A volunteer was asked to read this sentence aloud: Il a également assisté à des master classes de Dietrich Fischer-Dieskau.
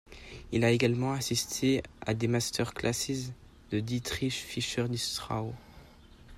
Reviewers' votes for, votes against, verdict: 1, 2, rejected